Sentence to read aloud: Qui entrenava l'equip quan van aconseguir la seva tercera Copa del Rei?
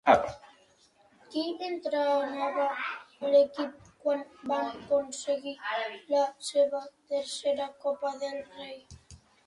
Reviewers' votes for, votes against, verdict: 1, 2, rejected